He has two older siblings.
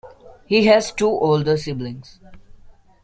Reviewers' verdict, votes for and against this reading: accepted, 2, 0